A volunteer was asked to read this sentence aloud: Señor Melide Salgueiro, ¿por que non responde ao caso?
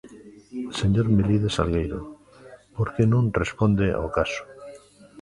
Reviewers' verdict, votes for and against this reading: rejected, 1, 2